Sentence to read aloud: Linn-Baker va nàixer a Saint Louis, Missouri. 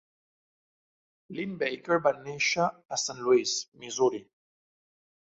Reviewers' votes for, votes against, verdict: 3, 0, accepted